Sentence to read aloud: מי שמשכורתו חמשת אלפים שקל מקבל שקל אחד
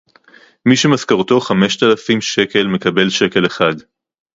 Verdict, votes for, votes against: rejected, 2, 2